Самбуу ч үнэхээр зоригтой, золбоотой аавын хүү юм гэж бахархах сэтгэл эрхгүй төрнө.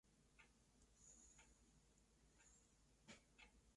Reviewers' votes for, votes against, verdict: 0, 2, rejected